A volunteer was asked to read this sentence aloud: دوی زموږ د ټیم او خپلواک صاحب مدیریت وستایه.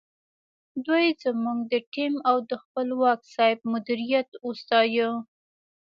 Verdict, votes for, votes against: rejected, 0, 2